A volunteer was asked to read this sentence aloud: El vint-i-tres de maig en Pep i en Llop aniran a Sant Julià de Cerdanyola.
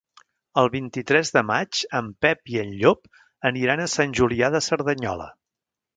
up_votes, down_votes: 3, 1